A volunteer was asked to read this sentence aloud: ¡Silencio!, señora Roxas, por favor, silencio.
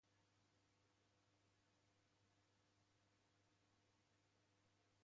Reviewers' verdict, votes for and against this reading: rejected, 0, 2